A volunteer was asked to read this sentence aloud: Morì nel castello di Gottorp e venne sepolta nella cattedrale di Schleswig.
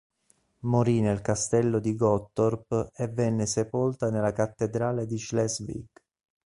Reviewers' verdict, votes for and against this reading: accepted, 2, 0